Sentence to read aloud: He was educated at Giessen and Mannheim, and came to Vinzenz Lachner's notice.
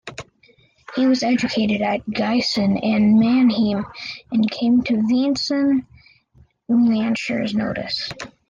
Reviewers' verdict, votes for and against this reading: rejected, 2, 4